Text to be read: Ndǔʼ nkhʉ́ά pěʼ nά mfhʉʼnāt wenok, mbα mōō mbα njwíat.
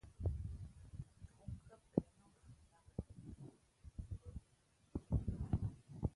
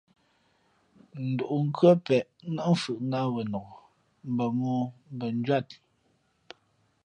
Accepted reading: second